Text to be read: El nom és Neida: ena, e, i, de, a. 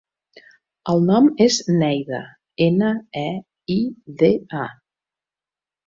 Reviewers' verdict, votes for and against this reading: accepted, 2, 0